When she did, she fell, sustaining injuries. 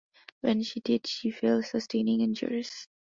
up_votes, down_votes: 2, 0